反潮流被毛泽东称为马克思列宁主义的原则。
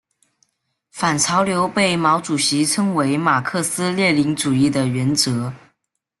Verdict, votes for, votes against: rejected, 0, 2